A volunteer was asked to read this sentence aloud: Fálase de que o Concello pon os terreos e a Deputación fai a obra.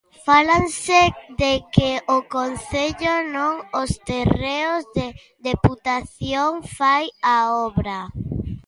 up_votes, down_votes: 0, 2